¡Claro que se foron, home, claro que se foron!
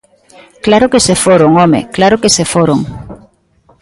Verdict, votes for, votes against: accepted, 2, 0